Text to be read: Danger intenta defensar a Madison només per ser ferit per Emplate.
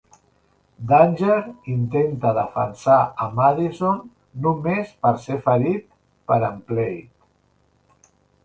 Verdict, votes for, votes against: accepted, 2, 0